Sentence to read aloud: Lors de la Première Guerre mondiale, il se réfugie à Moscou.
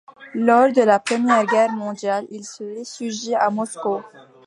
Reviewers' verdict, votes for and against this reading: accepted, 2, 1